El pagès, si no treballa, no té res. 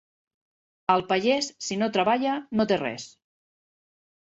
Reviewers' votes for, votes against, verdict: 1, 2, rejected